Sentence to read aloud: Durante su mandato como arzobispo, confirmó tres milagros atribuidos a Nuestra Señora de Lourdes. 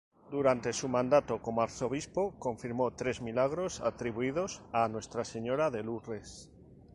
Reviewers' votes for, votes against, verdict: 0, 2, rejected